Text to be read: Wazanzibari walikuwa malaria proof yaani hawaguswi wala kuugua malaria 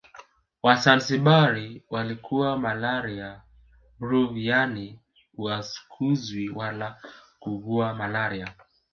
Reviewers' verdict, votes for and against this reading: rejected, 1, 2